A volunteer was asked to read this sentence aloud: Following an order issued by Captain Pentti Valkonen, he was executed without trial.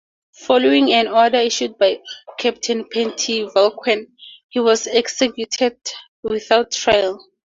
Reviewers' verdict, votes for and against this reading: rejected, 0, 2